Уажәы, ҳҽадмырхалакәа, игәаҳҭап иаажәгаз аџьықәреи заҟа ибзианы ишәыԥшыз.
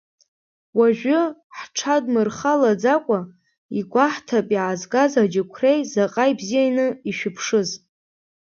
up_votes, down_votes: 1, 2